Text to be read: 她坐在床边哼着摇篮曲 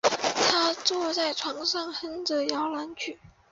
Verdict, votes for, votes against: rejected, 1, 2